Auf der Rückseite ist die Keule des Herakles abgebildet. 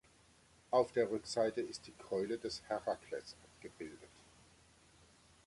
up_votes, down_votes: 2, 1